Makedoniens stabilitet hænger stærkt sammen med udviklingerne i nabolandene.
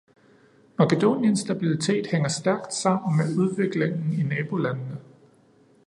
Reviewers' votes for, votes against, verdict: 0, 2, rejected